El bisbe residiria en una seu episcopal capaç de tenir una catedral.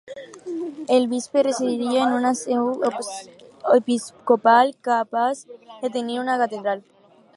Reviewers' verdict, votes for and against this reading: rejected, 0, 4